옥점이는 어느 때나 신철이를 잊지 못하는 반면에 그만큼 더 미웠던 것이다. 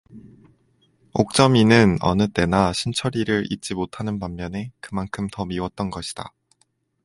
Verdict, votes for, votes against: accepted, 2, 0